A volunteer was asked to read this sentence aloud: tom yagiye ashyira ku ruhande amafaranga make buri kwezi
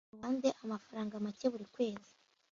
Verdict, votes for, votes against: rejected, 0, 2